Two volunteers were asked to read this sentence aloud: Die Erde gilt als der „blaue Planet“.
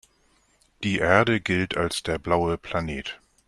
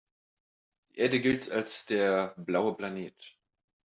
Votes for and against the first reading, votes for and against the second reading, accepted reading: 2, 0, 0, 2, first